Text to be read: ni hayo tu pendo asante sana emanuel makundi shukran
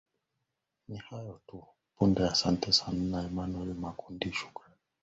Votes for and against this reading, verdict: 0, 2, rejected